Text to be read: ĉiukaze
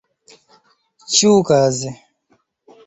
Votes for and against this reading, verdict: 1, 2, rejected